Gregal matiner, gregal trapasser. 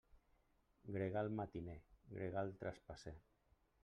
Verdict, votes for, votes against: rejected, 0, 2